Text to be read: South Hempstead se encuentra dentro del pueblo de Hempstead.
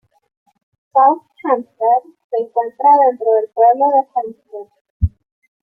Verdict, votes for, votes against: rejected, 0, 2